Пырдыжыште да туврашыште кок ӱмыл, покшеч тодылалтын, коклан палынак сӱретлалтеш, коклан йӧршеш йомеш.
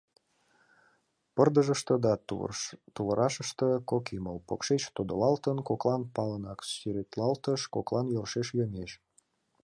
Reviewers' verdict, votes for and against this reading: rejected, 1, 2